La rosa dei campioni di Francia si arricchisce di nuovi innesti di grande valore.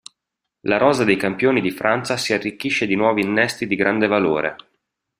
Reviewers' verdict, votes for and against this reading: accepted, 2, 0